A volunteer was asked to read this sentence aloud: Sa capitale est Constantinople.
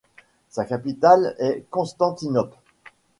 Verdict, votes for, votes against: accepted, 2, 0